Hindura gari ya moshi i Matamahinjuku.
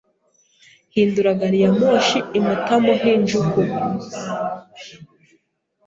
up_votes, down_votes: 2, 0